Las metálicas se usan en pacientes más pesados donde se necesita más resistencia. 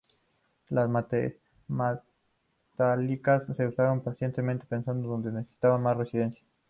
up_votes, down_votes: 0, 4